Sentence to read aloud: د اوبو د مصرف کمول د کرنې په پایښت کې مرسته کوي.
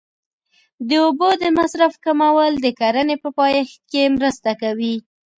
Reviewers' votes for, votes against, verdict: 2, 0, accepted